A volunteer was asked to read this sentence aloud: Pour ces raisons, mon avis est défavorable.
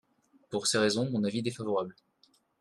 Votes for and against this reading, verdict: 1, 2, rejected